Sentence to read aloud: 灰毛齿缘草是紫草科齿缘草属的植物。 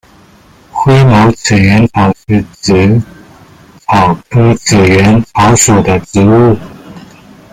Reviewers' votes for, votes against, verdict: 1, 2, rejected